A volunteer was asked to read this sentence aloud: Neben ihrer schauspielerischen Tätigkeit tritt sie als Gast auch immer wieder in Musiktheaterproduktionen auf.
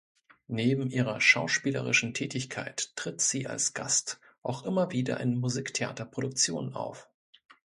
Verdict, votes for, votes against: accepted, 2, 0